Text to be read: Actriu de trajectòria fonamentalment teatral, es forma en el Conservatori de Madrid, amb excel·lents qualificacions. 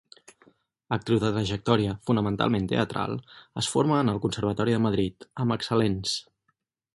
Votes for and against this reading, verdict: 2, 4, rejected